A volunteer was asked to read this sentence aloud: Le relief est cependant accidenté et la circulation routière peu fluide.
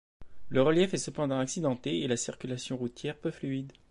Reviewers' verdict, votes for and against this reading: accepted, 2, 0